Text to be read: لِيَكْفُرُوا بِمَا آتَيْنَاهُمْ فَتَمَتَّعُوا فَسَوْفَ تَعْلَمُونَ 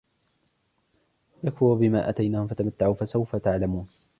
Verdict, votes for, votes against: accepted, 2, 1